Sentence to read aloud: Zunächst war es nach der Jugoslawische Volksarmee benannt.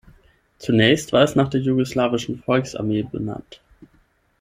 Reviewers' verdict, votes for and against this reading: accepted, 6, 0